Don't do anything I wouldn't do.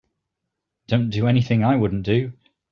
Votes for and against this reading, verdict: 2, 0, accepted